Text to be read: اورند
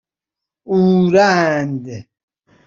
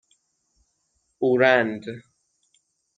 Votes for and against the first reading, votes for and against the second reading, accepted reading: 2, 0, 3, 6, first